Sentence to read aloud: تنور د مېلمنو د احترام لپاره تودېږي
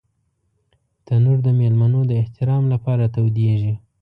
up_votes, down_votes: 2, 0